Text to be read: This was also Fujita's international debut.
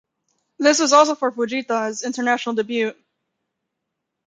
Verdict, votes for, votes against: rejected, 0, 2